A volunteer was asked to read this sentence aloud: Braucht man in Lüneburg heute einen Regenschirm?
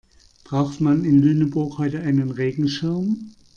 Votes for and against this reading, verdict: 2, 0, accepted